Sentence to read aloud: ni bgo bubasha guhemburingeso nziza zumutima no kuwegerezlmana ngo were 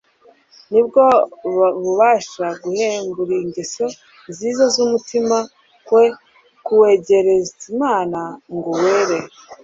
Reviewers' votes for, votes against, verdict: 0, 2, rejected